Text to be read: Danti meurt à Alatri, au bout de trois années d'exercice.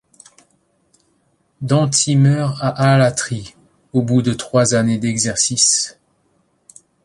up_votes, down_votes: 2, 0